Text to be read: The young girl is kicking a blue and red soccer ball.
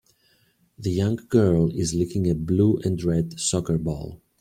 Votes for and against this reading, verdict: 3, 2, accepted